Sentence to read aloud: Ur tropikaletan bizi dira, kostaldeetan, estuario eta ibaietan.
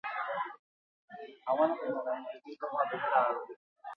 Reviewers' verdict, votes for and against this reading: rejected, 0, 4